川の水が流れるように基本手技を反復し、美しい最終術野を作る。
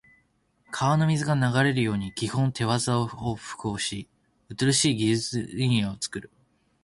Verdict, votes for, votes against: rejected, 0, 2